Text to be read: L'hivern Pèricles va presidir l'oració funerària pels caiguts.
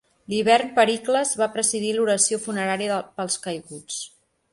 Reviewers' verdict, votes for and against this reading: rejected, 1, 2